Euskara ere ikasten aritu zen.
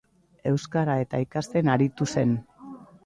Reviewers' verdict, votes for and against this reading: rejected, 0, 2